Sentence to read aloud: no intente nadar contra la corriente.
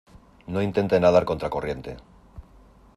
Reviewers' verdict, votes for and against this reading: accepted, 2, 1